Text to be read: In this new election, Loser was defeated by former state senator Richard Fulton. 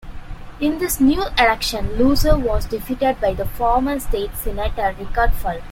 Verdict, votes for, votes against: rejected, 0, 2